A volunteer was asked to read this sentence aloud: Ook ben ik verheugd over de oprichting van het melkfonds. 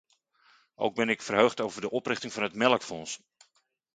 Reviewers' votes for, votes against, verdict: 2, 0, accepted